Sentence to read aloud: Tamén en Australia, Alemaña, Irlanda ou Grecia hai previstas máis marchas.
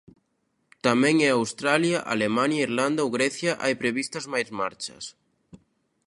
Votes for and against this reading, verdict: 0, 2, rejected